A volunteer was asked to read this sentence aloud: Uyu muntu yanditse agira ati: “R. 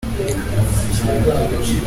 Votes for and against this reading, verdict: 0, 2, rejected